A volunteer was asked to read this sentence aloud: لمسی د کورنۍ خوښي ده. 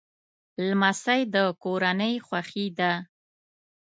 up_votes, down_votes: 2, 0